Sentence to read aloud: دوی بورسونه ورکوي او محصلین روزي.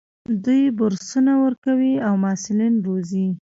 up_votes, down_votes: 0, 2